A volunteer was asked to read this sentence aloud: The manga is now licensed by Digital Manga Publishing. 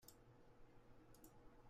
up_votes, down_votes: 0, 2